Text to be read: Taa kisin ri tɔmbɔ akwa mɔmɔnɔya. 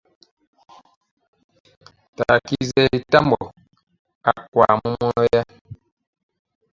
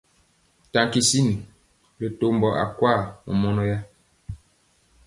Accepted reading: second